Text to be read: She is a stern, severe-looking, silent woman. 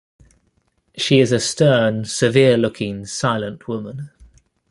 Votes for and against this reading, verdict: 2, 0, accepted